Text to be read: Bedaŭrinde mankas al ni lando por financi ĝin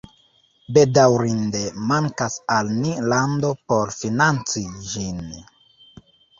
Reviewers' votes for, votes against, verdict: 2, 1, accepted